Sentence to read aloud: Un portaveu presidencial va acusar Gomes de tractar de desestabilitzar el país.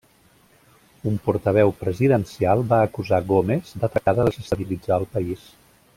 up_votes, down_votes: 1, 2